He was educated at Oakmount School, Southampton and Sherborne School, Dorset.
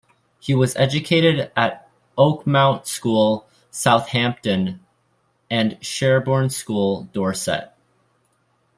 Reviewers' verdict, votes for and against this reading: accepted, 2, 0